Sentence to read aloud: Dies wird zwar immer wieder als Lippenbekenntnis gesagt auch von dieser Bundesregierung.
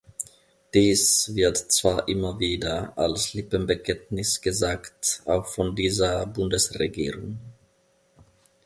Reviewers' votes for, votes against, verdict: 2, 0, accepted